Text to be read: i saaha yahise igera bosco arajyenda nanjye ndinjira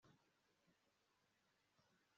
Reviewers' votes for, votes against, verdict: 1, 2, rejected